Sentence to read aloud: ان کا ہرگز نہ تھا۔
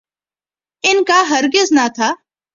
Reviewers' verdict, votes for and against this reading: accepted, 4, 0